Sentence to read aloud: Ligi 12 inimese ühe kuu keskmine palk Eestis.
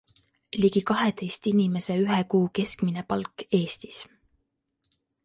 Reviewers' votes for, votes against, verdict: 0, 2, rejected